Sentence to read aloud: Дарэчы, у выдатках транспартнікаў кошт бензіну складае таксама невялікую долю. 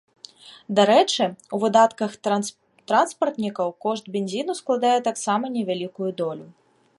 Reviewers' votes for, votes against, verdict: 0, 2, rejected